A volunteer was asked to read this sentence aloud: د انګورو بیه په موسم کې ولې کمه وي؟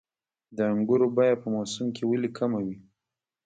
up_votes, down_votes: 0, 2